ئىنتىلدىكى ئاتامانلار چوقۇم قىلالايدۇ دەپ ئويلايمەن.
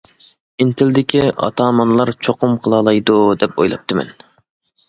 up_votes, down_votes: 1, 2